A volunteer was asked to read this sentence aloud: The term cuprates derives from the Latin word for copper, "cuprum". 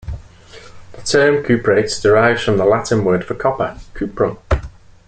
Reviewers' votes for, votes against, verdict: 2, 0, accepted